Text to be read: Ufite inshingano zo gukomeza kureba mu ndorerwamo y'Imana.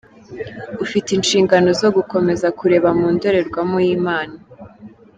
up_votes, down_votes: 1, 2